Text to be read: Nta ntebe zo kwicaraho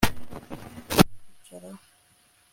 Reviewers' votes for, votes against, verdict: 1, 2, rejected